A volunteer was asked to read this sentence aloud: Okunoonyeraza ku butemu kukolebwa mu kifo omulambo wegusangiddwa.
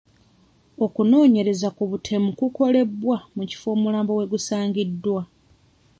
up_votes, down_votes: 1, 2